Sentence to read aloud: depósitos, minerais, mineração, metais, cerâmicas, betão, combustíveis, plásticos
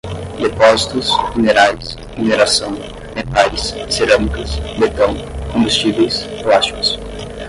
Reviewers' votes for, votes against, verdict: 0, 10, rejected